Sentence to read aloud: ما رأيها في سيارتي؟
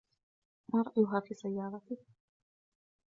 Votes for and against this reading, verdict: 2, 1, accepted